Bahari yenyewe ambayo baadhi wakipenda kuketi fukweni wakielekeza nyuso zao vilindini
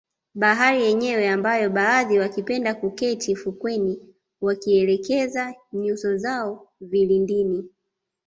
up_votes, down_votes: 2, 0